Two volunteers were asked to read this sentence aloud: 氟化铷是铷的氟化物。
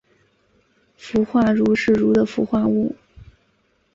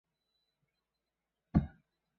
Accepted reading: first